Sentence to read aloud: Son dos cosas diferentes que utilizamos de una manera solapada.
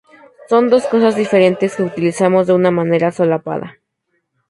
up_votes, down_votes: 0, 2